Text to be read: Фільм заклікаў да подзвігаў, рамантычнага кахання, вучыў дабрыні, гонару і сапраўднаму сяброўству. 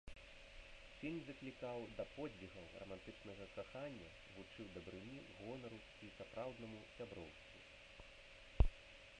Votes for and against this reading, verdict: 0, 2, rejected